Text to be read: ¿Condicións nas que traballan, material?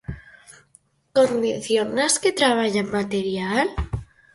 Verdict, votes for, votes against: rejected, 2, 2